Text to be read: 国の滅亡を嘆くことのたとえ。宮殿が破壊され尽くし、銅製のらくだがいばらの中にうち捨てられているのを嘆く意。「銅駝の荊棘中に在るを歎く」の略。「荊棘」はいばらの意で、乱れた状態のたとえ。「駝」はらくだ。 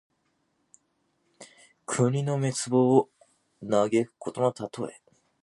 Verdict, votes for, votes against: rejected, 0, 2